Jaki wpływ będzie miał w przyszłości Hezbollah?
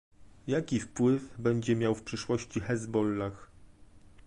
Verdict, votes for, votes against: accepted, 2, 0